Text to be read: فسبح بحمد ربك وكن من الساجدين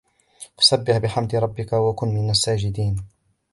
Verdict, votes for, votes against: accepted, 2, 0